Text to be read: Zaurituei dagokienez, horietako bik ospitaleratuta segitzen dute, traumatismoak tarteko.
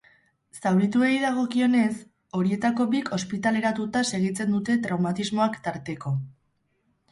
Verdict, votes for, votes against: rejected, 0, 2